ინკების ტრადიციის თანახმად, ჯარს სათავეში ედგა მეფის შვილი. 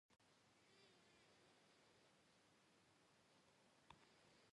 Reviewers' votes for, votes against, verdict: 0, 2, rejected